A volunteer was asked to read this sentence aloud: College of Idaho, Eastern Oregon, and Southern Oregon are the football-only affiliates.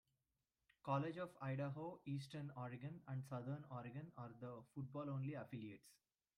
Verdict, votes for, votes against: accepted, 2, 1